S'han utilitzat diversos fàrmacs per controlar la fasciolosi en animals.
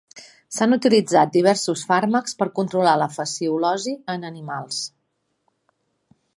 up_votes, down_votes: 3, 0